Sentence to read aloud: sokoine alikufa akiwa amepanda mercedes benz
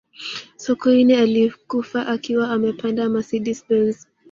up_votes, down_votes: 1, 2